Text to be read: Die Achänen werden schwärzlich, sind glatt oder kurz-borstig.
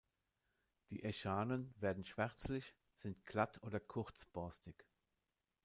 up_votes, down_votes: 0, 2